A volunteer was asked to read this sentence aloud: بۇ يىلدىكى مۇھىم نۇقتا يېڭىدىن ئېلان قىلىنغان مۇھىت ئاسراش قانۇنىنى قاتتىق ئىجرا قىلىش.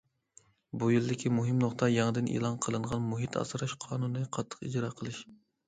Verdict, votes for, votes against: accepted, 2, 0